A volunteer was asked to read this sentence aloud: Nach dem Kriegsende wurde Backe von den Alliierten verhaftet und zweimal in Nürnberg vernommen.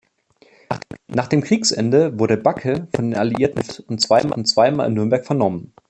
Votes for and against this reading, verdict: 0, 2, rejected